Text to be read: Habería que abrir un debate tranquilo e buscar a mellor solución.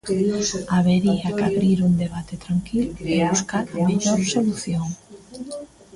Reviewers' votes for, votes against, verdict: 1, 2, rejected